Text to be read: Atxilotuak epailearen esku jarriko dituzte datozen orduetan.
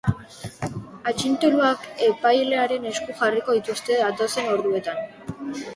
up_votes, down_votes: 0, 2